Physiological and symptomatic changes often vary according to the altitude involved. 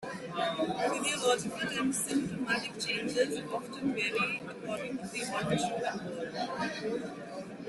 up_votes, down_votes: 0, 2